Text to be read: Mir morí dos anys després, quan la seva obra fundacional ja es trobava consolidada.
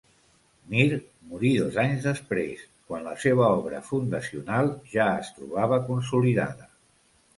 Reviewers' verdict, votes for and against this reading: accepted, 3, 0